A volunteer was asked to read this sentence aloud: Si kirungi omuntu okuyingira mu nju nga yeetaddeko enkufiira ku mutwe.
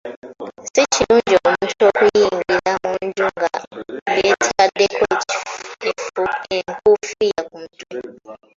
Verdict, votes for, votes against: rejected, 0, 2